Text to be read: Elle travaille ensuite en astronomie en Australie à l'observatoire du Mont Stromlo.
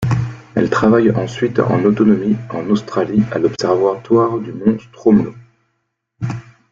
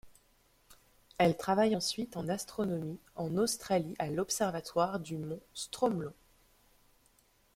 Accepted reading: second